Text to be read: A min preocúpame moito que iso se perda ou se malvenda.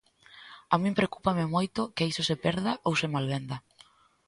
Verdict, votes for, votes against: accepted, 2, 0